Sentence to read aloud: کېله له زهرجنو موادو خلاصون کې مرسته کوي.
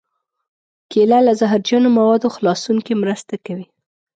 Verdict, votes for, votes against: accepted, 2, 0